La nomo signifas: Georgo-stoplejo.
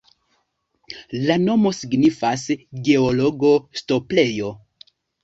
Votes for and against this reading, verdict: 2, 1, accepted